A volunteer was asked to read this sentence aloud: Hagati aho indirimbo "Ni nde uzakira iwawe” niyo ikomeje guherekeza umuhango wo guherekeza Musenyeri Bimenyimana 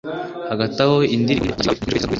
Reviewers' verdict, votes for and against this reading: rejected, 0, 2